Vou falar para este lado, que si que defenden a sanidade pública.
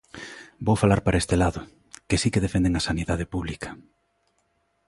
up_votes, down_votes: 2, 0